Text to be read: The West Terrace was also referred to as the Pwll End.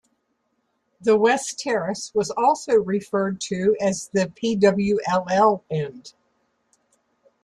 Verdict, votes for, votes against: rejected, 0, 2